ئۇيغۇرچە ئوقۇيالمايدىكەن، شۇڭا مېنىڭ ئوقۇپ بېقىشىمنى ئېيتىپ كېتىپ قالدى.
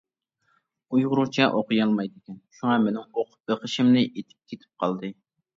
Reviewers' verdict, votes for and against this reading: rejected, 1, 2